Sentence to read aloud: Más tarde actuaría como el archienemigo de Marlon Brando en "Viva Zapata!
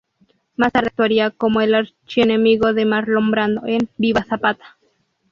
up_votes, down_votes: 0, 2